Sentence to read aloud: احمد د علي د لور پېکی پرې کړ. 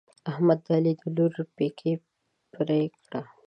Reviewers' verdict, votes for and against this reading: accepted, 2, 1